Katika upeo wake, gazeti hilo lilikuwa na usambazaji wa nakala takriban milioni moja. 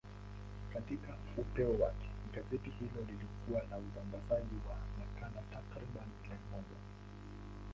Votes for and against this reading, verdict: 2, 0, accepted